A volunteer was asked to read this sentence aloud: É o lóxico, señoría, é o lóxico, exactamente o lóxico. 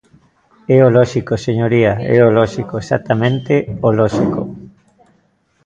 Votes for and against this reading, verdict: 0, 2, rejected